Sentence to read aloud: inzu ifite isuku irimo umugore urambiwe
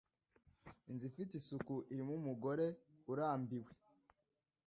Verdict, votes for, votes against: accepted, 2, 1